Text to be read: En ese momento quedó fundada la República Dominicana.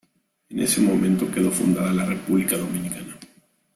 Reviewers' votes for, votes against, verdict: 2, 0, accepted